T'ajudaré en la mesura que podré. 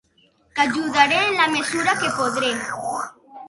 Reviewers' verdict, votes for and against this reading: rejected, 0, 6